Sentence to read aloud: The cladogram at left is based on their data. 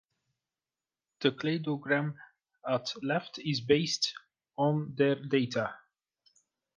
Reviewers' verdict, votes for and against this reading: accepted, 2, 0